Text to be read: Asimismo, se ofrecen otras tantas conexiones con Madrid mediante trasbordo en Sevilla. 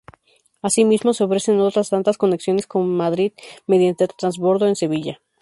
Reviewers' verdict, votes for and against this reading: rejected, 0, 2